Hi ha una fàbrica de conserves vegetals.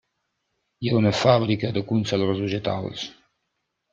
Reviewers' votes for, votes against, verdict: 5, 0, accepted